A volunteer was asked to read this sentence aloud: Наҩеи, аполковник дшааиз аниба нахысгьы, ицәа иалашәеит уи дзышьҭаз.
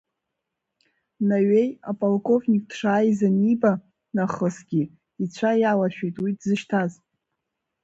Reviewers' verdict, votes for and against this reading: rejected, 0, 2